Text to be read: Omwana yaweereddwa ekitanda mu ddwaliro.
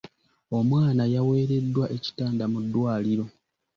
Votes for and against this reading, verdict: 2, 0, accepted